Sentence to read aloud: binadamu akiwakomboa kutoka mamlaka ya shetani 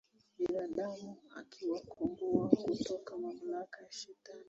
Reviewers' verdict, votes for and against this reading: rejected, 1, 2